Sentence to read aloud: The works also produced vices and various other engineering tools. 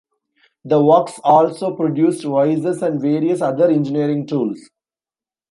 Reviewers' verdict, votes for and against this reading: rejected, 1, 2